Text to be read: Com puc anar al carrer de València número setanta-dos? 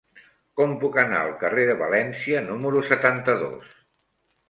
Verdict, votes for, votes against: rejected, 1, 2